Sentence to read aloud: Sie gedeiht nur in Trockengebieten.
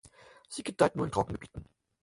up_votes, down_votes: 4, 0